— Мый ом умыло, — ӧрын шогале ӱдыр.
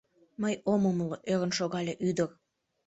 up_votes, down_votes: 0, 2